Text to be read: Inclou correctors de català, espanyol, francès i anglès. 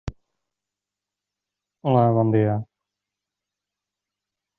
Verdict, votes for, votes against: rejected, 0, 2